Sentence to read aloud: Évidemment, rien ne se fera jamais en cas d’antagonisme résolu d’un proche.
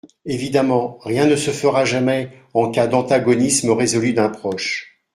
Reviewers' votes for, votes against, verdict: 2, 0, accepted